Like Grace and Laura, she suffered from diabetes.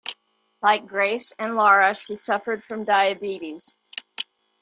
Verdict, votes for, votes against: accepted, 2, 0